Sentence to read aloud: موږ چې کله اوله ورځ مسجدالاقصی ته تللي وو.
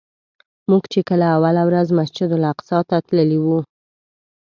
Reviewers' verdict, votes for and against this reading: accepted, 2, 0